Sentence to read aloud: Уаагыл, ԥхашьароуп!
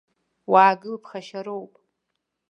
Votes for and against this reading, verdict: 2, 0, accepted